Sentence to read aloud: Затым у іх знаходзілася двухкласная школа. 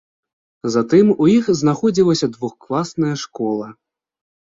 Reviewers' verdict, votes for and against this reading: accepted, 2, 0